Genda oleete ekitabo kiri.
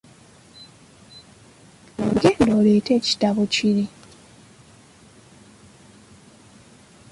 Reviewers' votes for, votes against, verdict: 1, 2, rejected